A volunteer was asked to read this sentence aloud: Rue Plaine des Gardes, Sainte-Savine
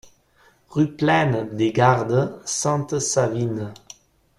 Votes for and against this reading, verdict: 2, 0, accepted